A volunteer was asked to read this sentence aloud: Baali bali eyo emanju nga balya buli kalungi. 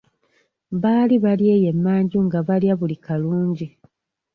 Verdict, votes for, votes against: accepted, 2, 1